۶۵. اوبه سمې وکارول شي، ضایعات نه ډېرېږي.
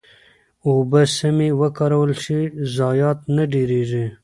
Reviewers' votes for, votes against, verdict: 0, 2, rejected